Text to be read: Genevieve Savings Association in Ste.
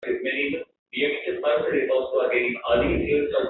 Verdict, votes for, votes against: rejected, 0, 2